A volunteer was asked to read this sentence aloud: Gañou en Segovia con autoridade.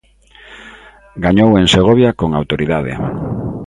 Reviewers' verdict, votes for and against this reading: accepted, 3, 0